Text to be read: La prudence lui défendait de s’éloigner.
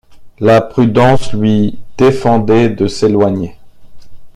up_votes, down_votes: 1, 2